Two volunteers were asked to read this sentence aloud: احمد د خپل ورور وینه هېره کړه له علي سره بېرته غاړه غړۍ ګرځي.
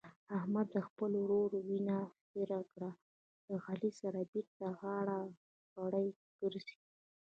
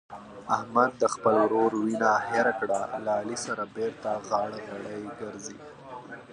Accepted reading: second